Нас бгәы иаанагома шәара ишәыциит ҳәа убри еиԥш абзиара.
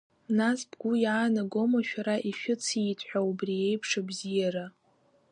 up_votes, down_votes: 3, 1